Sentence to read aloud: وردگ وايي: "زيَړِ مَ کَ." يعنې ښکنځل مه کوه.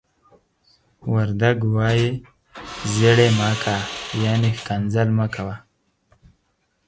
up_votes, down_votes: 4, 0